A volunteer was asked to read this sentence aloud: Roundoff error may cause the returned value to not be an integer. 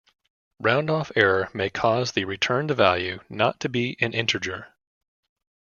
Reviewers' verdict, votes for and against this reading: rejected, 1, 2